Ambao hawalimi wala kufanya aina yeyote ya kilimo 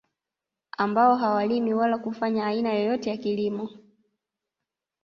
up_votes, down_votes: 0, 2